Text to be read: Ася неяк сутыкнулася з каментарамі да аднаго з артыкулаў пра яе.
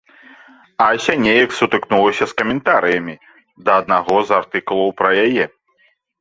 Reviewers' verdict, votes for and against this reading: rejected, 0, 2